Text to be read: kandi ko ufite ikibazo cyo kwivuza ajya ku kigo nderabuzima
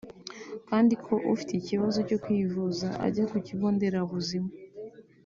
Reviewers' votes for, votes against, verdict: 3, 0, accepted